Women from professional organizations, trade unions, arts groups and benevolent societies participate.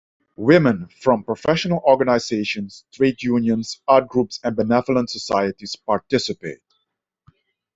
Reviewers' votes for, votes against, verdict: 2, 1, accepted